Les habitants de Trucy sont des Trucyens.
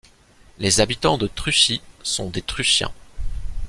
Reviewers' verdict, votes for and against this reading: accepted, 2, 0